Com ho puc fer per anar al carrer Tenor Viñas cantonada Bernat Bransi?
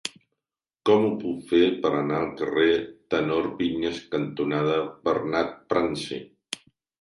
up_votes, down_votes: 2, 0